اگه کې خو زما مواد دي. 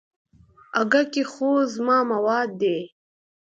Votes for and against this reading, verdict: 2, 0, accepted